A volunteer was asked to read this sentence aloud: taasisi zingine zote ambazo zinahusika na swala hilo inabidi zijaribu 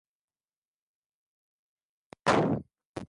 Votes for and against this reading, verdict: 0, 2, rejected